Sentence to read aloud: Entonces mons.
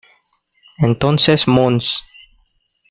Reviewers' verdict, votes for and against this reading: accepted, 2, 0